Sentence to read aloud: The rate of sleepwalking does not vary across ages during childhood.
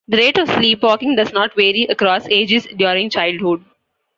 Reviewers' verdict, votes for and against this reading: accepted, 2, 0